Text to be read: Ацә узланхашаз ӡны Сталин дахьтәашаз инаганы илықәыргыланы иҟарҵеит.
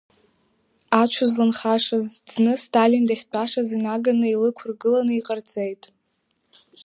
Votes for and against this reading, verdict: 2, 0, accepted